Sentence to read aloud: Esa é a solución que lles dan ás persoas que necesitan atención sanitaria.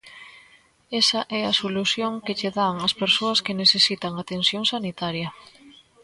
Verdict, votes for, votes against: rejected, 0, 2